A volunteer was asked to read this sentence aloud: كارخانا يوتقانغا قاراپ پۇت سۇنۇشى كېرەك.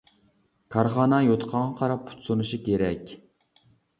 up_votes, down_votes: 2, 0